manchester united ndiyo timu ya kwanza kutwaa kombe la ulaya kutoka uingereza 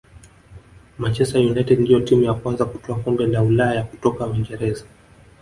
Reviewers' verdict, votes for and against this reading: accepted, 2, 1